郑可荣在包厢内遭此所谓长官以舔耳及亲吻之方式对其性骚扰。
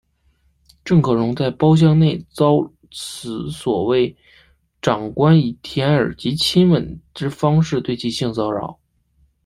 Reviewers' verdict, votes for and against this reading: rejected, 1, 2